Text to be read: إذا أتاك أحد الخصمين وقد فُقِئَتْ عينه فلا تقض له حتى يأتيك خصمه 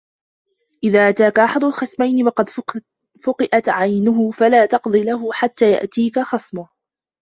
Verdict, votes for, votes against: accepted, 2, 0